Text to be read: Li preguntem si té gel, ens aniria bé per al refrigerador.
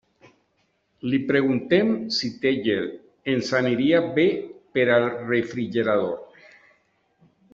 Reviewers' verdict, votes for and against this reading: rejected, 0, 2